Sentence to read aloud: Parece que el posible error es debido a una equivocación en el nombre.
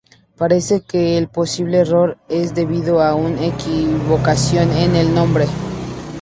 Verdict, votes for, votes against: rejected, 0, 2